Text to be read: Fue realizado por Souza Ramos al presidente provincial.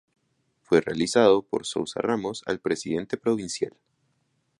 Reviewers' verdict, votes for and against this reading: rejected, 0, 2